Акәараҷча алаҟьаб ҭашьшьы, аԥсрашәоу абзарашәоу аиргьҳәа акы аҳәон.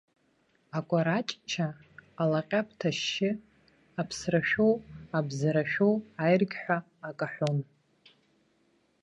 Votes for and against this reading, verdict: 1, 2, rejected